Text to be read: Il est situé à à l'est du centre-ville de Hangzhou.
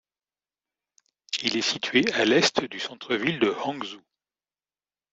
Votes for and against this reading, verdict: 0, 2, rejected